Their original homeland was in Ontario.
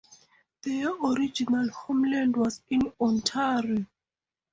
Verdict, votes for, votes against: accepted, 4, 0